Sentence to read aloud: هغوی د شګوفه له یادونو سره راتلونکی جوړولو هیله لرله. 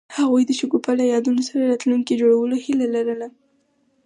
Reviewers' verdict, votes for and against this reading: accepted, 4, 0